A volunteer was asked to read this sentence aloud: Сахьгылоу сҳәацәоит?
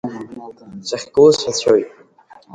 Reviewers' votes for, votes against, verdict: 0, 2, rejected